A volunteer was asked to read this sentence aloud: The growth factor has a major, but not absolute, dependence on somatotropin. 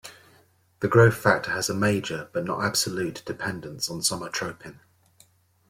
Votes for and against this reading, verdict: 0, 2, rejected